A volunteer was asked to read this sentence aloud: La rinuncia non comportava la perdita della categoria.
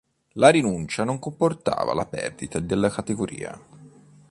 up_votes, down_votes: 2, 0